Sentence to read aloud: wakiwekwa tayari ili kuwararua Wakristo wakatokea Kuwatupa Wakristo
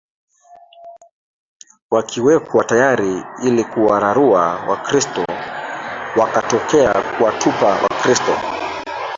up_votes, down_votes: 0, 2